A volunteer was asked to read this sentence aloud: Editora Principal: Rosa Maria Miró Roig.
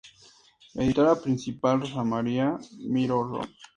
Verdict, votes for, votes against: accepted, 2, 0